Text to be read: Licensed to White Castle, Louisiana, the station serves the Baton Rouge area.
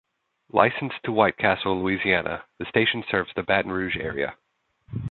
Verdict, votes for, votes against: accepted, 2, 0